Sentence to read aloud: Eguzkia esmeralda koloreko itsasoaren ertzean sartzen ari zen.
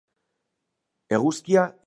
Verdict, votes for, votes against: rejected, 0, 2